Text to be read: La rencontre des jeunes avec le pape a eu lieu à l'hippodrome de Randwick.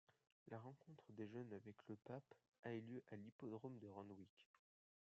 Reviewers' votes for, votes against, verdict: 1, 2, rejected